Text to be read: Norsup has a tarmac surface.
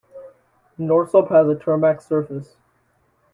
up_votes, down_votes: 2, 0